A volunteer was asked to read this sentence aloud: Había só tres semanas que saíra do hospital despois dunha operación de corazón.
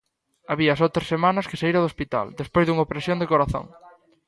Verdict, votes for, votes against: rejected, 0, 2